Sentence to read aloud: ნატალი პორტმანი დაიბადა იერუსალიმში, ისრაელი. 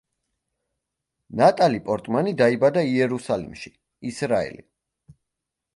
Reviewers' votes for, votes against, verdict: 2, 1, accepted